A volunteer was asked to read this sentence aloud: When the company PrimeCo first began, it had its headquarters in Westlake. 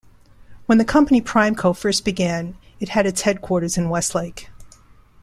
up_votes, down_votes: 3, 0